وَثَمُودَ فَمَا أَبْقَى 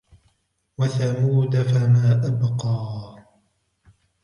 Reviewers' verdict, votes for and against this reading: accepted, 3, 1